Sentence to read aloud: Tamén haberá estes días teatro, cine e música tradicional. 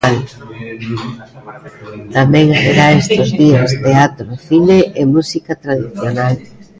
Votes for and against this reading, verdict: 0, 2, rejected